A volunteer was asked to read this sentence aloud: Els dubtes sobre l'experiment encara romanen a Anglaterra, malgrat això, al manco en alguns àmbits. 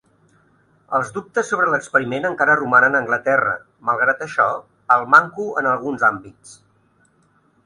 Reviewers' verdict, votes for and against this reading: accepted, 2, 0